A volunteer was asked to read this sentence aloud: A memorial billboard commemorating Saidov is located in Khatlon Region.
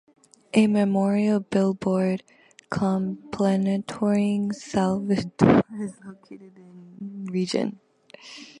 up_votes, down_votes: 0, 2